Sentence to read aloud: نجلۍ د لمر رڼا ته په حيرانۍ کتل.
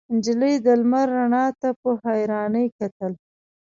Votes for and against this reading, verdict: 2, 0, accepted